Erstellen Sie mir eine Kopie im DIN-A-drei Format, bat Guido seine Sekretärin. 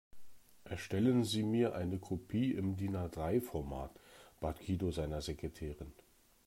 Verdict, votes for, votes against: rejected, 1, 2